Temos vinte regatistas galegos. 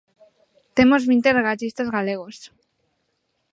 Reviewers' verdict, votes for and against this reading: accepted, 2, 0